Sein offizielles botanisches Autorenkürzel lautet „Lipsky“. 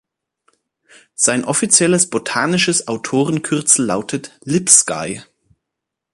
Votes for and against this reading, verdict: 2, 1, accepted